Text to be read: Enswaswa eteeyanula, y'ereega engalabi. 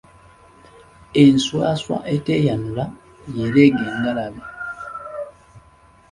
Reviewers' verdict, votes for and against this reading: accepted, 3, 0